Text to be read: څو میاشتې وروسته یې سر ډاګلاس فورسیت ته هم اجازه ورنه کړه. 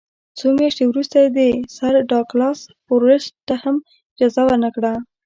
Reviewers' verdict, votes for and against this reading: rejected, 1, 2